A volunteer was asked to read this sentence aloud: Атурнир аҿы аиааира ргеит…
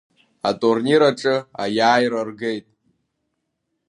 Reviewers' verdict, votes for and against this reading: accepted, 2, 0